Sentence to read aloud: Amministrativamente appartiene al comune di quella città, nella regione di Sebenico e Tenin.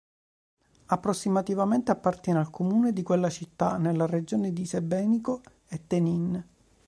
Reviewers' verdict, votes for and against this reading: rejected, 0, 2